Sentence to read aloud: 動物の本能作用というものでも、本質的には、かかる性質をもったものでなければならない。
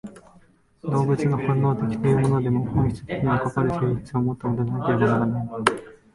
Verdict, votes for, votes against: rejected, 1, 3